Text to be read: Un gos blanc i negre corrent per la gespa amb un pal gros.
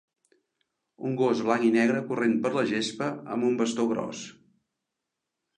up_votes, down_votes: 0, 2